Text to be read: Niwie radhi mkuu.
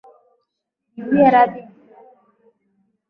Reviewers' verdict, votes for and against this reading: rejected, 0, 2